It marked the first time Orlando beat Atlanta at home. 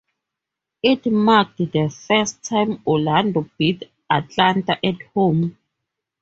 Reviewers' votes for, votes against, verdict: 2, 2, rejected